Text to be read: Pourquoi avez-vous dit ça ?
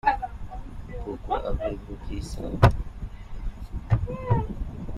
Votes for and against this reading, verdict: 0, 2, rejected